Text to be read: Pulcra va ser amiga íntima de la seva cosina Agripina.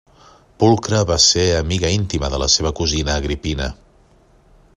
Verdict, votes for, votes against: accepted, 2, 0